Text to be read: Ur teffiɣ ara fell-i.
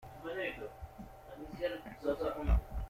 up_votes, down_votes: 0, 2